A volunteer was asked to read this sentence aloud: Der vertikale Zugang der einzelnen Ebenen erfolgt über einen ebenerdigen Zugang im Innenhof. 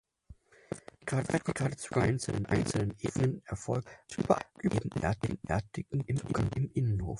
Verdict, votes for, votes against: rejected, 0, 4